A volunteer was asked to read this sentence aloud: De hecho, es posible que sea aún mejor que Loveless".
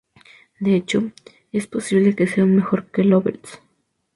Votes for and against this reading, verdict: 2, 0, accepted